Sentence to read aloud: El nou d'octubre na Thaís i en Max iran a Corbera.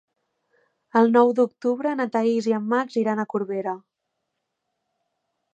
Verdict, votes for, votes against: accepted, 3, 0